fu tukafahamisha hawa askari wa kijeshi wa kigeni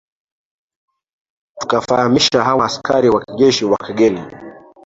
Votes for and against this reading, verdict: 0, 2, rejected